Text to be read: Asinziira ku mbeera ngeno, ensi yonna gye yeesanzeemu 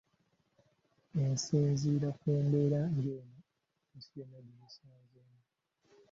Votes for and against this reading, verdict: 0, 2, rejected